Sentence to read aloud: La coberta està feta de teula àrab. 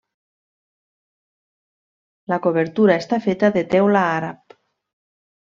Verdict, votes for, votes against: rejected, 0, 2